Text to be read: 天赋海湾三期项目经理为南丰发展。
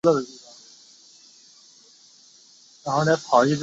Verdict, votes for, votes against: rejected, 0, 2